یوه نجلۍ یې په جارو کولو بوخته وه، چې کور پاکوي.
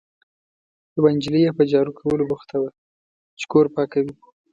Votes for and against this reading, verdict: 2, 0, accepted